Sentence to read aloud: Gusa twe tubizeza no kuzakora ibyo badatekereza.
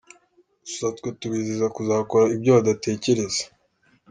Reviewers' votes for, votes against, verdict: 2, 0, accepted